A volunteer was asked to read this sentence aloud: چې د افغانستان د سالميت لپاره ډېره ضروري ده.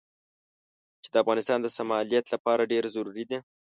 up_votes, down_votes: 1, 2